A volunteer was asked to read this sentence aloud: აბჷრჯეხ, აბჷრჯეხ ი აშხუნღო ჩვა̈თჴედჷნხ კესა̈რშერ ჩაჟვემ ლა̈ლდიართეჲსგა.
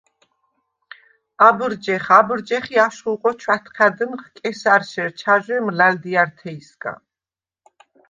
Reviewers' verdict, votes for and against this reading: rejected, 1, 2